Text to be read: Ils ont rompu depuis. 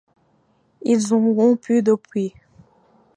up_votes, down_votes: 2, 0